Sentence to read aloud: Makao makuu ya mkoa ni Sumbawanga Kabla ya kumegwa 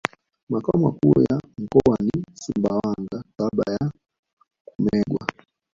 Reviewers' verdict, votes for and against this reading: rejected, 1, 2